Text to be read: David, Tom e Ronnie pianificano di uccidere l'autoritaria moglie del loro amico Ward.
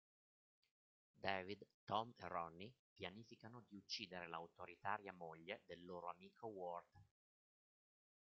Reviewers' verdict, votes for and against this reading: rejected, 1, 2